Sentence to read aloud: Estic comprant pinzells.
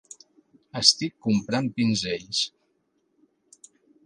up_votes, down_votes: 3, 0